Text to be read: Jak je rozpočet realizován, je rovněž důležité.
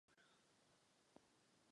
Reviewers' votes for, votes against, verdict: 0, 2, rejected